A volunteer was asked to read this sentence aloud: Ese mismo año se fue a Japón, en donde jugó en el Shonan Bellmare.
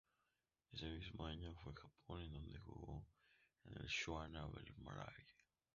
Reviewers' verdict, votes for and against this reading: rejected, 0, 2